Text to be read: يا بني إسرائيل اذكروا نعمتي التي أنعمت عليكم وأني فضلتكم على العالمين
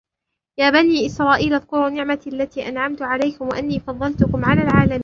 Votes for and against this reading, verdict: 0, 2, rejected